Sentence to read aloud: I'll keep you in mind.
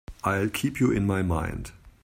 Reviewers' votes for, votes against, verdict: 1, 2, rejected